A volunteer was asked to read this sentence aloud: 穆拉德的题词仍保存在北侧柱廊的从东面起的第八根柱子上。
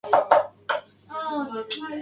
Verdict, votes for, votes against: rejected, 0, 4